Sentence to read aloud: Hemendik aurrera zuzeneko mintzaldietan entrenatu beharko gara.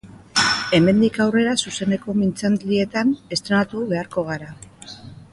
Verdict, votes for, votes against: rejected, 0, 2